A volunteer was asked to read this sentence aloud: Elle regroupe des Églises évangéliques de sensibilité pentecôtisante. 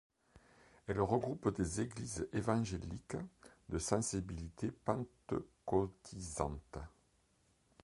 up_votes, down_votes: 2, 1